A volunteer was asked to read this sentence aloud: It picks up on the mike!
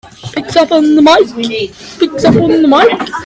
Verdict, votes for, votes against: rejected, 0, 2